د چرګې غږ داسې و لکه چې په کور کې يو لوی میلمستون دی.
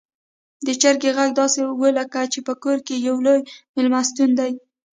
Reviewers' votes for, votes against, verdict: 1, 2, rejected